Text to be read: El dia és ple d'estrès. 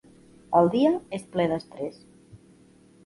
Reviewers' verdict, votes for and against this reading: accepted, 2, 0